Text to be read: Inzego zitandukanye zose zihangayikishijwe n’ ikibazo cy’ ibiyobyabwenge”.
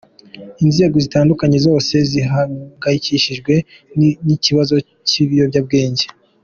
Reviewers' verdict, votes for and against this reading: accepted, 2, 1